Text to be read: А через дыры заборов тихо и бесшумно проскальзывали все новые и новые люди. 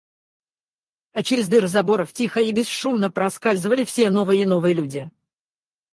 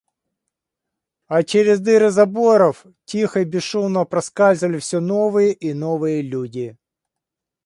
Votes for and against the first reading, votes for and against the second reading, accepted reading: 2, 4, 2, 0, second